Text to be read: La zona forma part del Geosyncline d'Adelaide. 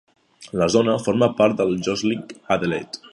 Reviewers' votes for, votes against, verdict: 2, 1, accepted